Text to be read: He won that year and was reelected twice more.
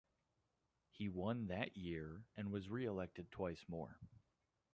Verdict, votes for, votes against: rejected, 1, 2